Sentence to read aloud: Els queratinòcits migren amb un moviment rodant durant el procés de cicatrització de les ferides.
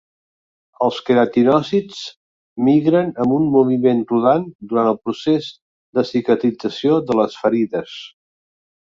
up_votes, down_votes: 2, 0